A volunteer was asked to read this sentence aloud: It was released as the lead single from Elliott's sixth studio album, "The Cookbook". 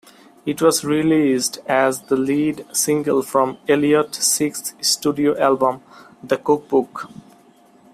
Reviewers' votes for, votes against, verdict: 2, 0, accepted